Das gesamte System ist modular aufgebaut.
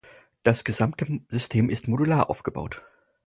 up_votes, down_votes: 2, 4